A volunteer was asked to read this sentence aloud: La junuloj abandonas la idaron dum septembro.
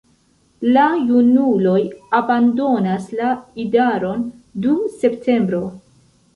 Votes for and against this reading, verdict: 2, 0, accepted